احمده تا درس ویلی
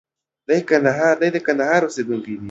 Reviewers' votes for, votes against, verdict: 0, 2, rejected